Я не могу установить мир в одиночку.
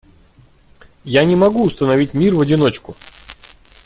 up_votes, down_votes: 2, 0